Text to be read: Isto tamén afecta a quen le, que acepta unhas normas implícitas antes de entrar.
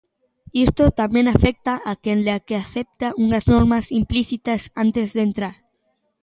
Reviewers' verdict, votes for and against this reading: accepted, 2, 1